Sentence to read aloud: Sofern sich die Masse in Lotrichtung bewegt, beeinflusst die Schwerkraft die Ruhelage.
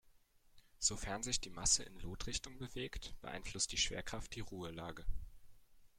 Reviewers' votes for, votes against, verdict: 1, 2, rejected